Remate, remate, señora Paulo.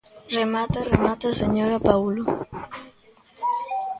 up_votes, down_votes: 1, 2